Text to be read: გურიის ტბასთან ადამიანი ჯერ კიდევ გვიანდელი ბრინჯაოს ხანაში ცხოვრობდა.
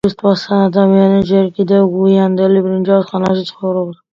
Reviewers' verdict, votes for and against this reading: rejected, 0, 2